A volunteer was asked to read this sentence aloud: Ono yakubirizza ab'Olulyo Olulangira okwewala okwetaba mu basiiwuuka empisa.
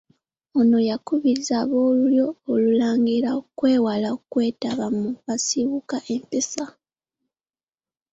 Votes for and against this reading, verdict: 2, 0, accepted